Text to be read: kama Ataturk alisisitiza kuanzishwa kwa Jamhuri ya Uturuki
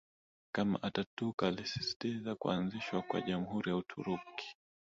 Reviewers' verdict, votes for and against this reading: rejected, 1, 2